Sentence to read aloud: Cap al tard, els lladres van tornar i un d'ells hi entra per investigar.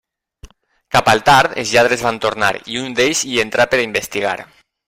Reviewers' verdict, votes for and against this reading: rejected, 1, 2